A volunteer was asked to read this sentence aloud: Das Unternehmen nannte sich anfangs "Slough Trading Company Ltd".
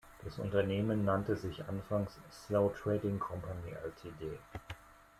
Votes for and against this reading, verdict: 1, 2, rejected